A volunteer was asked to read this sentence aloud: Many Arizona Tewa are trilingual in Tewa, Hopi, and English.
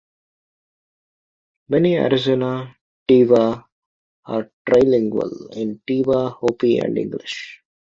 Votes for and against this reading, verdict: 2, 0, accepted